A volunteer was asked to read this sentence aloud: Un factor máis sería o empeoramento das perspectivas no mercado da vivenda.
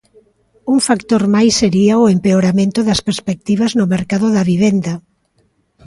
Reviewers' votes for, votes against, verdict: 2, 0, accepted